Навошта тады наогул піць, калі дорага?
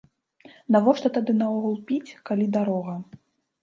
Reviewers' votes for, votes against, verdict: 0, 2, rejected